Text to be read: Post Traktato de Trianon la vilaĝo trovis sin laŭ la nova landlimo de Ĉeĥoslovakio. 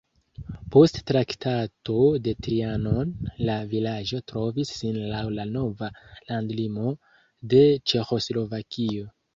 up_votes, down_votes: 2, 0